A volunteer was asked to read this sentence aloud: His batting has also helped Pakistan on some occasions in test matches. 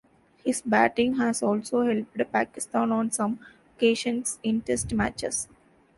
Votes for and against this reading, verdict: 1, 2, rejected